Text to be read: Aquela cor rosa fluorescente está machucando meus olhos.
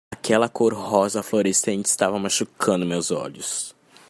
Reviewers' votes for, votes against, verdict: 0, 2, rejected